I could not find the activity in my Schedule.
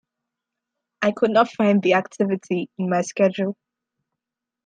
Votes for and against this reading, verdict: 2, 0, accepted